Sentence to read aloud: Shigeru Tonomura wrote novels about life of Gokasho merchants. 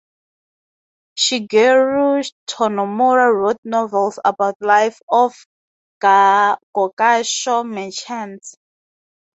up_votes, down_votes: 0, 2